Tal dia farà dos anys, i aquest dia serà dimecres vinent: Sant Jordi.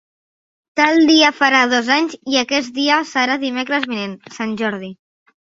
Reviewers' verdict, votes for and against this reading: accepted, 3, 0